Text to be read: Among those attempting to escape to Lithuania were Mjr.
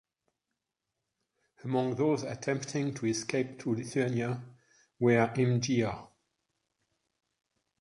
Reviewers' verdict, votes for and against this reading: rejected, 1, 2